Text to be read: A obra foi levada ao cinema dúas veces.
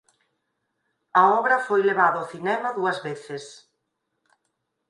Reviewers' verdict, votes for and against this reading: accepted, 4, 0